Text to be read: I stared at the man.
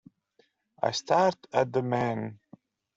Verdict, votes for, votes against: accepted, 2, 1